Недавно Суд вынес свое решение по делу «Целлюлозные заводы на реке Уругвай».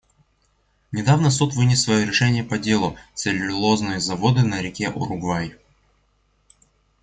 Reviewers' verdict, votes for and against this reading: accepted, 2, 0